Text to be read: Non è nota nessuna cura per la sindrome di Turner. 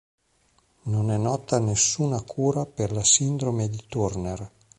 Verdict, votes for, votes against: rejected, 0, 2